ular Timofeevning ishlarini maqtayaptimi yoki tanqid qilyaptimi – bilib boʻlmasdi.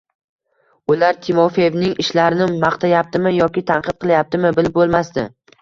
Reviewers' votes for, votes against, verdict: 1, 2, rejected